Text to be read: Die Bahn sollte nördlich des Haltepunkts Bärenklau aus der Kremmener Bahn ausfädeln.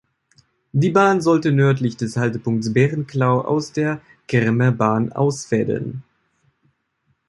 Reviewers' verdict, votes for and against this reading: rejected, 1, 3